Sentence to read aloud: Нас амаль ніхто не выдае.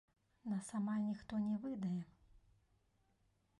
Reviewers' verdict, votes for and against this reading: accepted, 2, 0